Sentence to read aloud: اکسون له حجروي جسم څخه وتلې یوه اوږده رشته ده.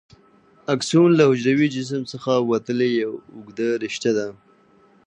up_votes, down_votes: 2, 0